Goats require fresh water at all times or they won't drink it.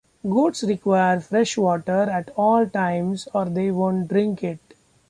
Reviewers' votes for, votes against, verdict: 2, 0, accepted